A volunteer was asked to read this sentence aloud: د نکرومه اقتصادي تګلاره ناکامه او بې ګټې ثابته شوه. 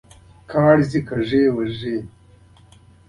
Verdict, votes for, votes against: accepted, 2, 0